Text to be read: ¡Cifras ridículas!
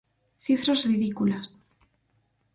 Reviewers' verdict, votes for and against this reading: accepted, 4, 0